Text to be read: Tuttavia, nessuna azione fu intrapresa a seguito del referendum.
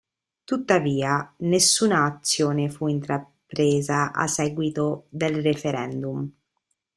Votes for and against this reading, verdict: 1, 2, rejected